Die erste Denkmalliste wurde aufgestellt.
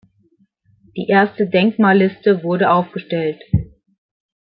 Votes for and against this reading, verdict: 2, 0, accepted